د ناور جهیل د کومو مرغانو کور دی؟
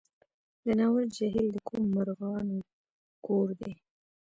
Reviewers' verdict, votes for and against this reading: rejected, 1, 2